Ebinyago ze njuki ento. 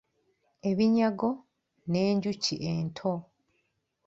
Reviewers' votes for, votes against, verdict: 1, 2, rejected